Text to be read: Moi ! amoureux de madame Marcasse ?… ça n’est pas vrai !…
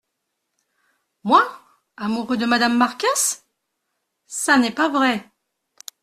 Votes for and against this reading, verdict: 2, 0, accepted